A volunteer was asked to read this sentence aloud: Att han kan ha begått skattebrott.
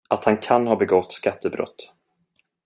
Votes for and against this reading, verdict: 2, 0, accepted